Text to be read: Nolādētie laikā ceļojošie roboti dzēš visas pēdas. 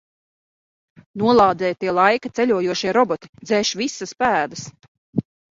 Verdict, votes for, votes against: rejected, 0, 2